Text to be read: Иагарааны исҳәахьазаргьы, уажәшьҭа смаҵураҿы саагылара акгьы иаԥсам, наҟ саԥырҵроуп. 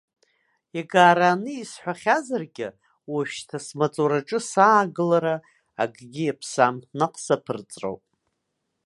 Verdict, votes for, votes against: rejected, 1, 2